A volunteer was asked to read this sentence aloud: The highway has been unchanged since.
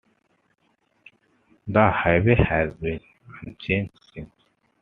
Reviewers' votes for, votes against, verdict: 2, 0, accepted